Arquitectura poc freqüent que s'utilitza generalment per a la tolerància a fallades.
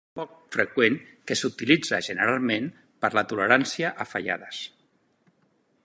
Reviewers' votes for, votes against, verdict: 0, 2, rejected